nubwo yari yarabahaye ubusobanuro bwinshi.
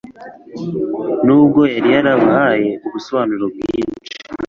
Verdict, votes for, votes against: accepted, 2, 0